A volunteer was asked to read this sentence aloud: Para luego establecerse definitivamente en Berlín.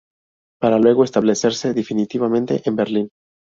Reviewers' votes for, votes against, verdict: 0, 2, rejected